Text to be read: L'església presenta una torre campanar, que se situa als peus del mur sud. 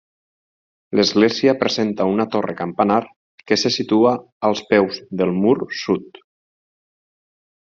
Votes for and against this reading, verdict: 6, 2, accepted